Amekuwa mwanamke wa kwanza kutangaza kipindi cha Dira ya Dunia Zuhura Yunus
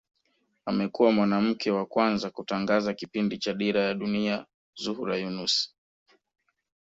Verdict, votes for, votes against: accepted, 2, 0